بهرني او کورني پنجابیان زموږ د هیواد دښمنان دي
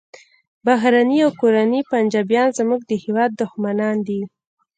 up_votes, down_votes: 1, 2